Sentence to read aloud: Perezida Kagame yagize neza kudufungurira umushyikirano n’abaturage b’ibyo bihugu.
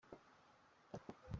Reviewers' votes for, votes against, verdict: 0, 3, rejected